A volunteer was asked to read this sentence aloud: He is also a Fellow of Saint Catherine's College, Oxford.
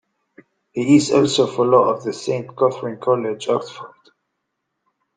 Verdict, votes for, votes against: rejected, 0, 2